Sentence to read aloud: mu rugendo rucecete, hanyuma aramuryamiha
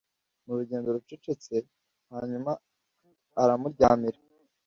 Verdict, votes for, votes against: accepted, 2, 0